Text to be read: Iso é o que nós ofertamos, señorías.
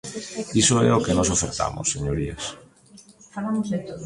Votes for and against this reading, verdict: 1, 2, rejected